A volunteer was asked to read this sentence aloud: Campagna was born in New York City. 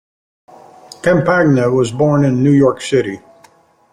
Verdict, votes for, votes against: accepted, 2, 0